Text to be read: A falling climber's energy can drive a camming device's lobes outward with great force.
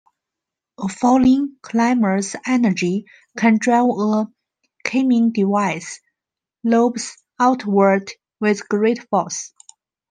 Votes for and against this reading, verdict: 1, 2, rejected